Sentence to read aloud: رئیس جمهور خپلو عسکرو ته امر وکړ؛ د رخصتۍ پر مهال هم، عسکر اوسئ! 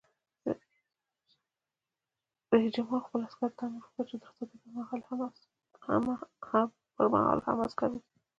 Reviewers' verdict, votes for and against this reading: accepted, 2, 1